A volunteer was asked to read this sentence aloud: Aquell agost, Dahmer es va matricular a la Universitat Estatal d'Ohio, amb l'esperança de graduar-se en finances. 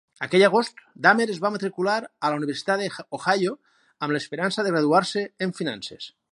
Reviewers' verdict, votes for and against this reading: rejected, 0, 4